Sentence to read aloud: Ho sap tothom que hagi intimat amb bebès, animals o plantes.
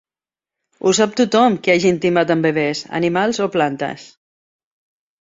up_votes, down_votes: 2, 0